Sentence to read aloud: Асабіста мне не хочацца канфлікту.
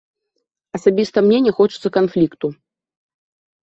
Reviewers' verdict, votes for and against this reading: accepted, 2, 1